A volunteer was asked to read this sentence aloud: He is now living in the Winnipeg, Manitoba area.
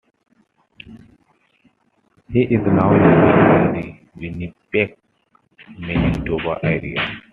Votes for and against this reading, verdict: 2, 0, accepted